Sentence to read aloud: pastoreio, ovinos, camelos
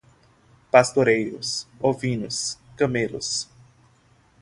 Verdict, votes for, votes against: rejected, 3, 3